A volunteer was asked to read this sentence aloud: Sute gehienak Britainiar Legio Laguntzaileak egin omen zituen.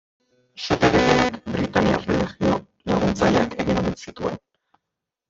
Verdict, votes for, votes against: rejected, 0, 2